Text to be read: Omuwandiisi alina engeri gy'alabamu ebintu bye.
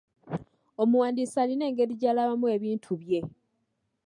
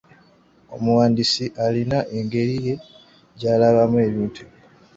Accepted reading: first